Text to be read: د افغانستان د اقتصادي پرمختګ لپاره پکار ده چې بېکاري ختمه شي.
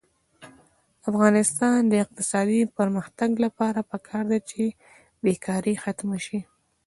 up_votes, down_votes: 1, 2